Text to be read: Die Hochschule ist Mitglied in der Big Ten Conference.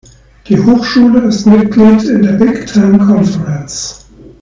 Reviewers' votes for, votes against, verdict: 2, 1, accepted